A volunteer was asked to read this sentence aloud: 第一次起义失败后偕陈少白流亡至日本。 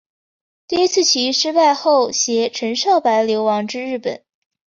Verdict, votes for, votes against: accepted, 2, 0